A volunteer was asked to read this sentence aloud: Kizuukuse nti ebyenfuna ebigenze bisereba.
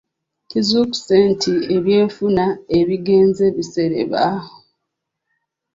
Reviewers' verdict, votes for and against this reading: rejected, 1, 2